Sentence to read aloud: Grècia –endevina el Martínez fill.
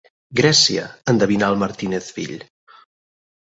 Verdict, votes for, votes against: accepted, 6, 0